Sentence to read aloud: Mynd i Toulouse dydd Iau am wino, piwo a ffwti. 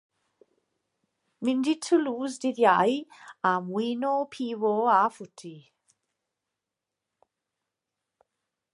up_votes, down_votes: 2, 0